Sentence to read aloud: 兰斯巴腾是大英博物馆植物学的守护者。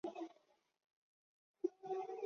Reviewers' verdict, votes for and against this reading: rejected, 0, 6